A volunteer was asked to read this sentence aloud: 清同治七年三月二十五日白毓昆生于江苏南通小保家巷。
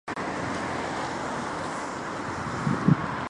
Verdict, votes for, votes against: rejected, 1, 4